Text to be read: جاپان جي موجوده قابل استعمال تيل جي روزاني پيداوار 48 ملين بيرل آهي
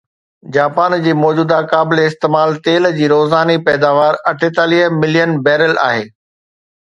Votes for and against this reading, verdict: 0, 2, rejected